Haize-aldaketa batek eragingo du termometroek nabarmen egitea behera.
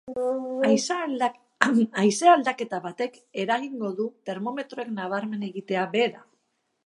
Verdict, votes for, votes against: rejected, 0, 3